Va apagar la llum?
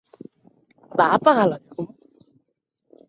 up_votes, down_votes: 1, 2